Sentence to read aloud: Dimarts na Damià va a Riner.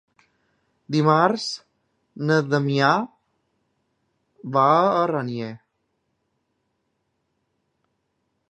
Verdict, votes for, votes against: rejected, 0, 2